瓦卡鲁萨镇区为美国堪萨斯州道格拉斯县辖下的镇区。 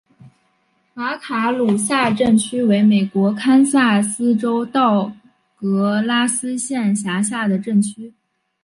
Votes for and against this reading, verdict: 8, 1, accepted